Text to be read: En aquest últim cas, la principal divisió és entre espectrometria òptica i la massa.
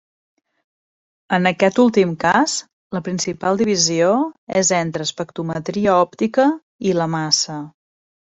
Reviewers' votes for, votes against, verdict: 2, 0, accepted